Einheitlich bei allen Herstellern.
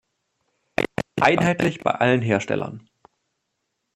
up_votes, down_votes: 0, 2